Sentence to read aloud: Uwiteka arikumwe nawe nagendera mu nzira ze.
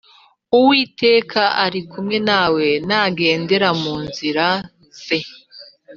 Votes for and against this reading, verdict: 2, 0, accepted